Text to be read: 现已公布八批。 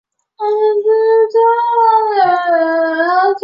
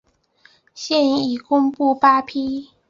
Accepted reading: second